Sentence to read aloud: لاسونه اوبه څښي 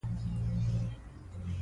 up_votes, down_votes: 1, 2